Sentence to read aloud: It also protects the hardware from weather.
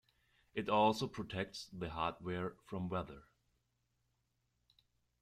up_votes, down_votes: 2, 0